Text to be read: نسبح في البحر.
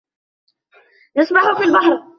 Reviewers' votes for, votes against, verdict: 2, 1, accepted